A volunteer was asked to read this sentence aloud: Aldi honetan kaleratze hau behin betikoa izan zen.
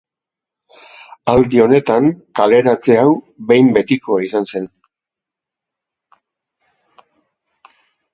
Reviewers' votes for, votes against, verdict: 1, 2, rejected